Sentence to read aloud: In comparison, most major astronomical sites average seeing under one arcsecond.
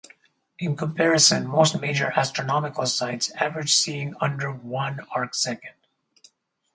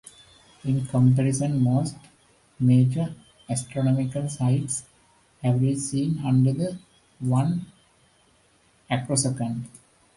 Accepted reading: first